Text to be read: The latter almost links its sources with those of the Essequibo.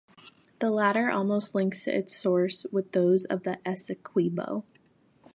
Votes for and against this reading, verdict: 2, 0, accepted